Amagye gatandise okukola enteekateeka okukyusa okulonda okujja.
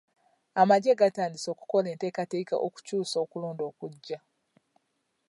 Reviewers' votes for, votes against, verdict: 2, 0, accepted